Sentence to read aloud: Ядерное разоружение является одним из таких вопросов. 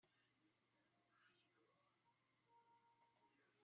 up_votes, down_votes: 0, 2